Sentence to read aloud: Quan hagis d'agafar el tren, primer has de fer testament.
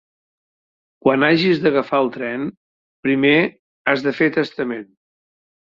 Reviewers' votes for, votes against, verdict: 2, 0, accepted